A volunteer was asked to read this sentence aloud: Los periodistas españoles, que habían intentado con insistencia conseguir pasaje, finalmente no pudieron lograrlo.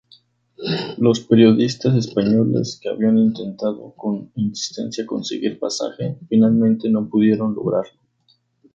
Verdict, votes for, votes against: accepted, 4, 0